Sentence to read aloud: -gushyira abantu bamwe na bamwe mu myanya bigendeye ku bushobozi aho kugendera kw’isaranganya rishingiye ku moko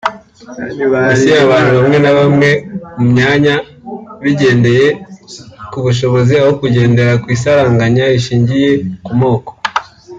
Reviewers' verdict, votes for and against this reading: rejected, 1, 2